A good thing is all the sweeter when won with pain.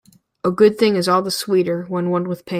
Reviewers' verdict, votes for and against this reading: accepted, 2, 1